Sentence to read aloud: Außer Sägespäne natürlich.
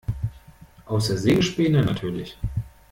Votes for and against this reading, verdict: 1, 2, rejected